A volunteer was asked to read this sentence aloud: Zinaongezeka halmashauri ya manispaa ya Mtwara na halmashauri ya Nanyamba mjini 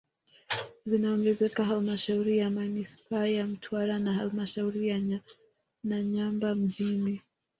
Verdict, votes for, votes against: rejected, 1, 2